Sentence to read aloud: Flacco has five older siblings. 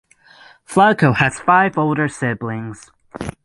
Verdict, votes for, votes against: accepted, 9, 0